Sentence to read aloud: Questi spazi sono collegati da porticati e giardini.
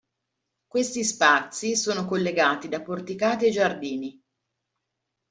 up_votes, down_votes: 2, 0